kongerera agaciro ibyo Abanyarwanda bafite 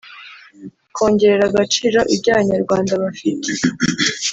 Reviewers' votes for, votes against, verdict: 2, 1, accepted